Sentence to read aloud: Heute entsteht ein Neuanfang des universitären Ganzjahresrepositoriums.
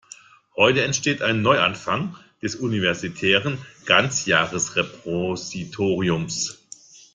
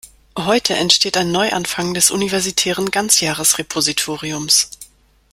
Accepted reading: second